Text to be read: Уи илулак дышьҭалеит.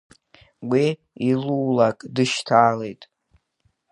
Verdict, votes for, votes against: accepted, 2, 0